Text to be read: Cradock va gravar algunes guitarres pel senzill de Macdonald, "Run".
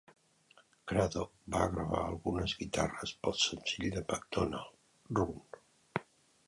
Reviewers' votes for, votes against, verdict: 2, 1, accepted